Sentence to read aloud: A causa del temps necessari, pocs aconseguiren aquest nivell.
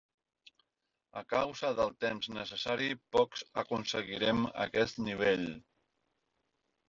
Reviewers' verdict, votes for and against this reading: rejected, 0, 2